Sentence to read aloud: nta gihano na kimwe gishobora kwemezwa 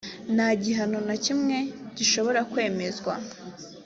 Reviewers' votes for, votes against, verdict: 2, 0, accepted